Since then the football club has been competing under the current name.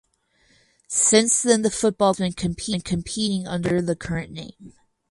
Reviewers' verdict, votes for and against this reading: rejected, 0, 4